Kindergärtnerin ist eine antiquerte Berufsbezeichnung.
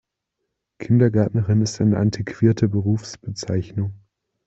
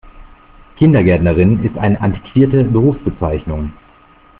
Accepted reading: first